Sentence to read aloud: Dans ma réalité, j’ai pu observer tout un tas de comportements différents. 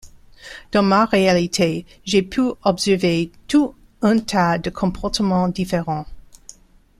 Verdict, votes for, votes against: rejected, 1, 2